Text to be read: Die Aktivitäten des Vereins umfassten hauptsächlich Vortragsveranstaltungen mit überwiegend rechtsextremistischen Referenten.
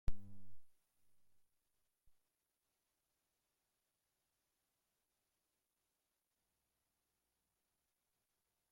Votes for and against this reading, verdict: 0, 2, rejected